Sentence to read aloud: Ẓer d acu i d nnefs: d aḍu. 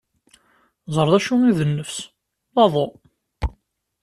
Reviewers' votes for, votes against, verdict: 2, 0, accepted